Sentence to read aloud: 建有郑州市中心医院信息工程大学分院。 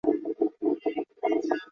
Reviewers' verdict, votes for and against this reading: rejected, 0, 2